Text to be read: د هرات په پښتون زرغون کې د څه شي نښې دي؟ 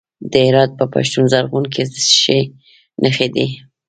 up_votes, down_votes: 0, 2